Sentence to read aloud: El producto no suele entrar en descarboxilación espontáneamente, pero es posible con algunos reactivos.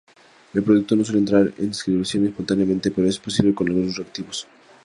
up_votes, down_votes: 0, 4